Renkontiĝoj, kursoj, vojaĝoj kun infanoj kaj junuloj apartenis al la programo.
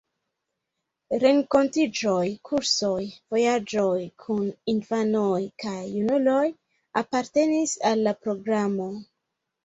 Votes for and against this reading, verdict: 1, 3, rejected